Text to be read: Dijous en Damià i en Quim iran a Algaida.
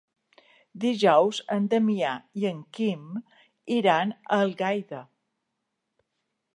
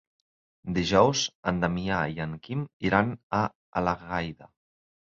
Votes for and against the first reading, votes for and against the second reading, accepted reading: 2, 0, 0, 4, first